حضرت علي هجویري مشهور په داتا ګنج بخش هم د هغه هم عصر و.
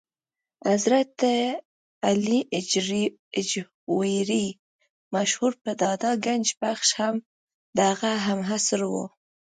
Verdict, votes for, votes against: rejected, 0, 2